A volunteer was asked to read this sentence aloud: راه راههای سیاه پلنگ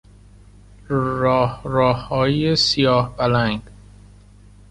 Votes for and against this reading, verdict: 2, 1, accepted